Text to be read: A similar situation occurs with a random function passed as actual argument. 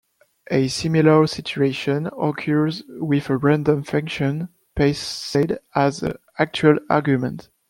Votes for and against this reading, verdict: 0, 2, rejected